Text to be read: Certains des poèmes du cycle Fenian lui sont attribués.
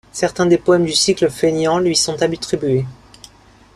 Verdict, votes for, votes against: rejected, 0, 2